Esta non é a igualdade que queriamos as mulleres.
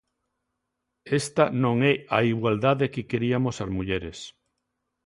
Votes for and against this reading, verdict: 0, 2, rejected